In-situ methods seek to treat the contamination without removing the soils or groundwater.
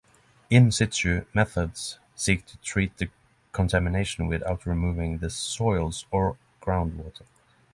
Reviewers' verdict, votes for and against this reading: accepted, 6, 0